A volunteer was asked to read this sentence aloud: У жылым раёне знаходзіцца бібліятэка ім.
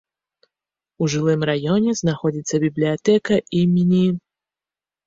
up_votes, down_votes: 0, 2